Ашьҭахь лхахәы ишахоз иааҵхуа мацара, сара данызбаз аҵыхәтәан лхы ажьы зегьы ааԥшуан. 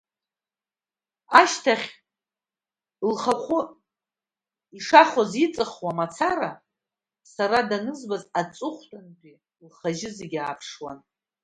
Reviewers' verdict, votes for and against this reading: rejected, 1, 2